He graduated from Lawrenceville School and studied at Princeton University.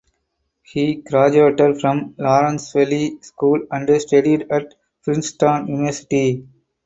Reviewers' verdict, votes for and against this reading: accepted, 4, 2